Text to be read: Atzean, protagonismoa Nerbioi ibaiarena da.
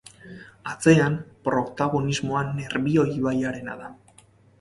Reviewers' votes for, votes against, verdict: 4, 0, accepted